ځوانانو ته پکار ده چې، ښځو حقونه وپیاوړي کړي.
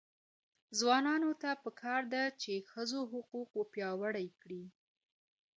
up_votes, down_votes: 2, 0